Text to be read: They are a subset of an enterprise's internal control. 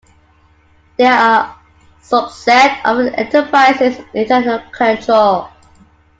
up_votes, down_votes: 2, 0